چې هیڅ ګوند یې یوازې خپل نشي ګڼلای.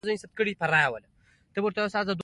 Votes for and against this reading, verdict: 2, 0, accepted